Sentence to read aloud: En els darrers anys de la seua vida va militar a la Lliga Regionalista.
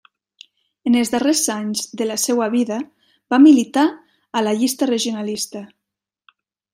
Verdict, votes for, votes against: rejected, 0, 3